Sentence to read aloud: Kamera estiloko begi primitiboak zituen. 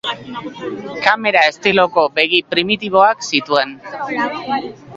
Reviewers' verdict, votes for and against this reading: rejected, 1, 2